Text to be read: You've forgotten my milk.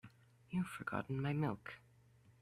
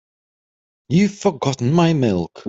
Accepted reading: second